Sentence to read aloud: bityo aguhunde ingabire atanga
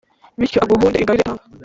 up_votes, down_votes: 0, 2